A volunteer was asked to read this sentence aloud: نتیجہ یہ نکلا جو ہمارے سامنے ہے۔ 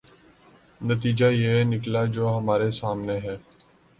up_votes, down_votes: 3, 0